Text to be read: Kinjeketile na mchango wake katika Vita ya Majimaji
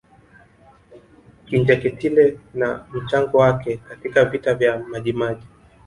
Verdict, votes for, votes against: rejected, 0, 2